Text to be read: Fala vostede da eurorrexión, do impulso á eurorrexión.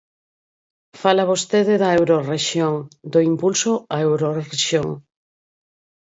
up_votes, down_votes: 2, 4